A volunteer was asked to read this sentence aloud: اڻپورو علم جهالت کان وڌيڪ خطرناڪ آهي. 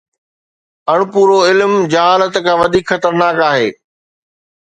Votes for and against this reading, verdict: 2, 0, accepted